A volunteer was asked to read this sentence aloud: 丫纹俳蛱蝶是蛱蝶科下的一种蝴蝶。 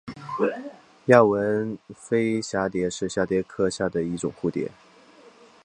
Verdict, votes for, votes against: accepted, 2, 0